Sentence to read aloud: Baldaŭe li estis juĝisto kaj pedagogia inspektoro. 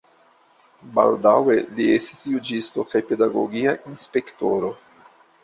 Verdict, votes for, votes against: accepted, 2, 0